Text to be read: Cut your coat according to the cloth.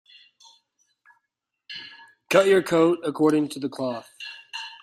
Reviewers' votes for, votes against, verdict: 2, 0, accepted